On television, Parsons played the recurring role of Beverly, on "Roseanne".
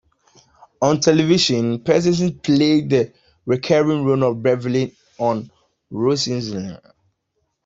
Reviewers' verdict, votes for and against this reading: rejected, 1, 2